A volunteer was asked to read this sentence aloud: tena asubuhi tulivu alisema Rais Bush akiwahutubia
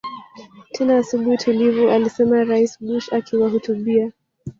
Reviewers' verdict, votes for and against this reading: rejected, 0, 2